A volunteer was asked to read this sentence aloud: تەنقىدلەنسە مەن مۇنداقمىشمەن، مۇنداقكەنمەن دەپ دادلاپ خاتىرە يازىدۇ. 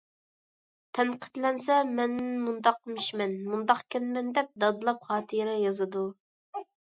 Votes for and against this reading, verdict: 2, 0, accepted